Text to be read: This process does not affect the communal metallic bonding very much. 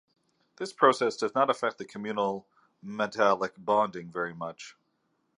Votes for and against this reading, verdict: 2, 0, accepted